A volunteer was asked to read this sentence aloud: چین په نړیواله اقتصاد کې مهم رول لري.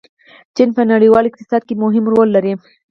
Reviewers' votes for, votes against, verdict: 2, 4, rejected